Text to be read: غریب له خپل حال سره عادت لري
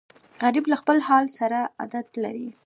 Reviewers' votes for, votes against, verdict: 1, 2, rejected